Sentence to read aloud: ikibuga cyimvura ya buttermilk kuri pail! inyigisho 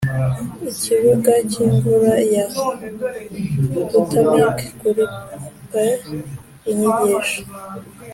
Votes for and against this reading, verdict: 2, 0, accepted